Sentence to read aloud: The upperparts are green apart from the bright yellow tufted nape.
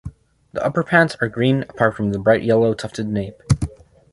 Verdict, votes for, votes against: rejected, 1, 2